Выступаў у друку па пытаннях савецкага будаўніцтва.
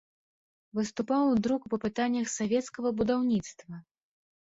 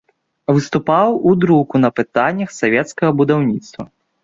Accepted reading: first